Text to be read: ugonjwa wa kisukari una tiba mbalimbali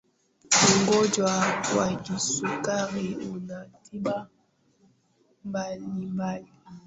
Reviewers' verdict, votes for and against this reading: rejected, 0, 2